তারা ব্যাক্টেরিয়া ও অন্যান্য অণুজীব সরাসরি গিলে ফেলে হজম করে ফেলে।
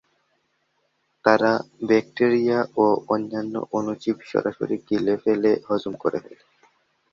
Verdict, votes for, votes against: rejected, 0, 2